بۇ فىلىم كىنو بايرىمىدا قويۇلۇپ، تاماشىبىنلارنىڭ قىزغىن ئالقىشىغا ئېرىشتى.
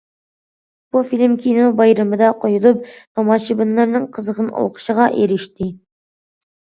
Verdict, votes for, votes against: accepted, 2, 0